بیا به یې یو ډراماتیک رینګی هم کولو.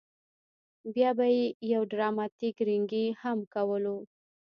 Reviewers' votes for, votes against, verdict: 1, 2, rejected